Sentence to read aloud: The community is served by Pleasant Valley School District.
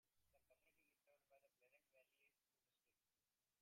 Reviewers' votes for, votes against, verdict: 0, 2, rejected